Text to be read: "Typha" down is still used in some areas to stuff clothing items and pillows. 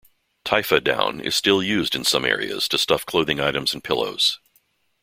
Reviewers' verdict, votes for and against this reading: accepted, 2, 0